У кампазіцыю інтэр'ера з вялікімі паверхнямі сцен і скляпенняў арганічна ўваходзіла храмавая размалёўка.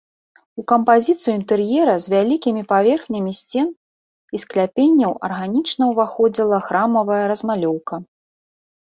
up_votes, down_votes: 2, 0